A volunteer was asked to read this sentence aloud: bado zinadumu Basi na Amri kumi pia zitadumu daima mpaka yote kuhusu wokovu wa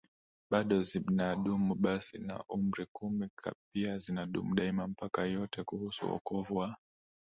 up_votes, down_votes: 0, 2